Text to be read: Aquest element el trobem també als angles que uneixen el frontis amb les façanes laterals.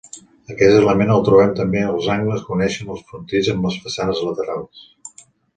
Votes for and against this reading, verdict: 1, 2, rejected